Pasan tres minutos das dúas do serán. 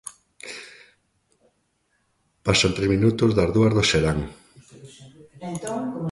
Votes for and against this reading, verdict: 0, 3, rejected